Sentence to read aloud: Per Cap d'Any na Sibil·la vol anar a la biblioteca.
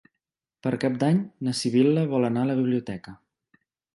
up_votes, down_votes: 2, 0